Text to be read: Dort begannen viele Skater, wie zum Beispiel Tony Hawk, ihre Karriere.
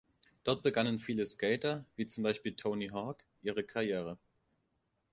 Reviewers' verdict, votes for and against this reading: rejected, 0, 2